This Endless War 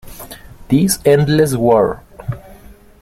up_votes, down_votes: 2, 0